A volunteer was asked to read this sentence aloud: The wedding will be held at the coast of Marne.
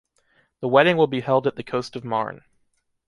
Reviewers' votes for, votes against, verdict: 4, 0, accepted